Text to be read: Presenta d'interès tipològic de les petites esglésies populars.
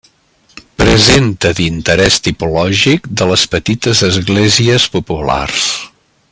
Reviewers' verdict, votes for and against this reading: rejected, 0, 2